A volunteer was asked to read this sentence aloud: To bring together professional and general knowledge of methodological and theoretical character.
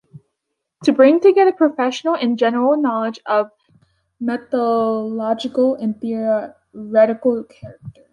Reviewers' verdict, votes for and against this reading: rejected, 0, 2